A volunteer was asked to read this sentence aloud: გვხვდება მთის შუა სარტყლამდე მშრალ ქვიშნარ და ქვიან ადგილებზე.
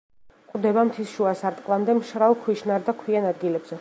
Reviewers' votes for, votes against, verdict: 2, 0, accepted